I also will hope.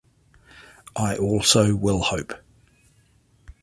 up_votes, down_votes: 2, 0